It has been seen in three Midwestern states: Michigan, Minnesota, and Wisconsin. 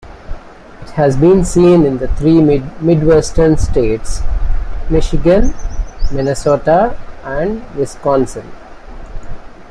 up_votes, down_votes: 1, 2